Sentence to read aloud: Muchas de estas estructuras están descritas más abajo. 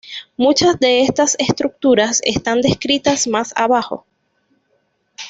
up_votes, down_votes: 2, 0